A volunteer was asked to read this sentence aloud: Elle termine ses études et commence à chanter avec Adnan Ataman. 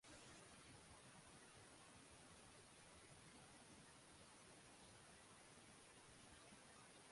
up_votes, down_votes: 0, 2